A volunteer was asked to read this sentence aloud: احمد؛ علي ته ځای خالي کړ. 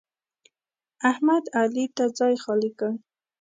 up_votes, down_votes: 7, 0